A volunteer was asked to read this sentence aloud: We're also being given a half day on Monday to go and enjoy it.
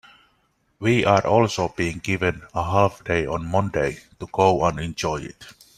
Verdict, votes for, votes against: accepted, 2, 0